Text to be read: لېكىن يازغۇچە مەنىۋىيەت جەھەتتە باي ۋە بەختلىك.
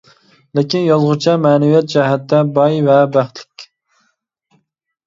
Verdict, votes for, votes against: accepted, 2, 0